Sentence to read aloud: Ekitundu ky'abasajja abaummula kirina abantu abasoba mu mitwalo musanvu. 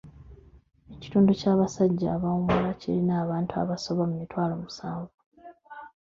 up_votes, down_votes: 0, 2